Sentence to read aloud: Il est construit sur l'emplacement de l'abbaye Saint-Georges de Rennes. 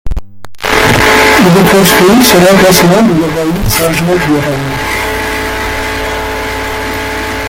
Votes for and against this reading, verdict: 0, 2, rejected